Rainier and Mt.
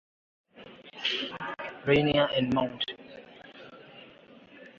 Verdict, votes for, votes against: accepted, 2, 0